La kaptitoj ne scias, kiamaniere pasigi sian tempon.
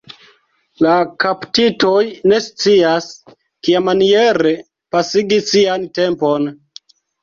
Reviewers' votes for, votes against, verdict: 2, 0, accepted